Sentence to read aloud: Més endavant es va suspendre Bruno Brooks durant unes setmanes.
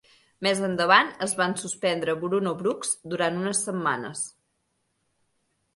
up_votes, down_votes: 1, 2